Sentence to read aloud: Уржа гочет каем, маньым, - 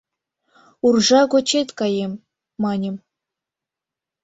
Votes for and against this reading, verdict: 2, 0, accepted